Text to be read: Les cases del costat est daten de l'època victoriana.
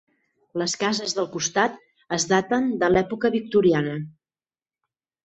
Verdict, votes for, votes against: rejected, 2, 4